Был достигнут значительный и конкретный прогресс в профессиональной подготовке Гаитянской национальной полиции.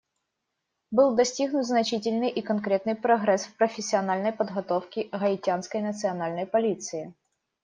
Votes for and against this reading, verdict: 2, 0, accepted